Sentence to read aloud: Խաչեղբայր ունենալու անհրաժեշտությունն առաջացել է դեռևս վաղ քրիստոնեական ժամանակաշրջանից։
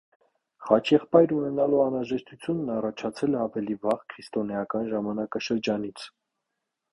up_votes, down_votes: 0, 2